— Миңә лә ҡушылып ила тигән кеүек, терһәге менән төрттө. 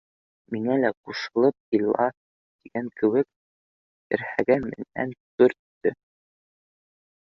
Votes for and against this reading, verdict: 2, 0, accepted